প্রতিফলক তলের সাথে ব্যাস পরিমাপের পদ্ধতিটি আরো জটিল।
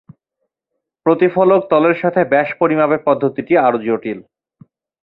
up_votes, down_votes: 2, 0